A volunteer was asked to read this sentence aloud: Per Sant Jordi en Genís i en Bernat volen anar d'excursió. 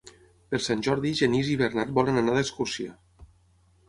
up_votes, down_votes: 0, 6